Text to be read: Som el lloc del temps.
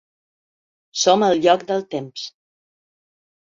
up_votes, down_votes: 3, 0